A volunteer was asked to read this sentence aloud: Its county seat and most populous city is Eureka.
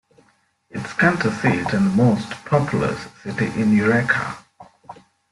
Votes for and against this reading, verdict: 0, 2, rejected